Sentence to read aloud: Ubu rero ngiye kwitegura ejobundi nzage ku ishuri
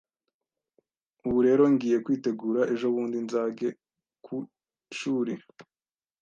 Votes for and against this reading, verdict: 2, 0, accepted